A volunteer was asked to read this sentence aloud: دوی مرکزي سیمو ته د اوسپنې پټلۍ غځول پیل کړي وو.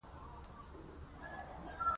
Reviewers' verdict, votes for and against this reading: accepted, 2, 1